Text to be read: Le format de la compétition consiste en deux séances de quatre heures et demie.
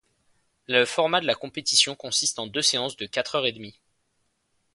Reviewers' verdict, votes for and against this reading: accepted, 3, 0